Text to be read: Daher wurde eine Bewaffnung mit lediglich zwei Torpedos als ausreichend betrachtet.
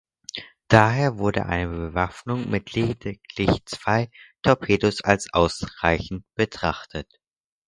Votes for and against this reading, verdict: 4, 0, accepted